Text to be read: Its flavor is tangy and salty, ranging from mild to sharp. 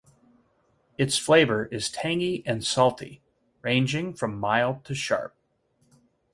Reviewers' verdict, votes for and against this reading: accepted, 4, 0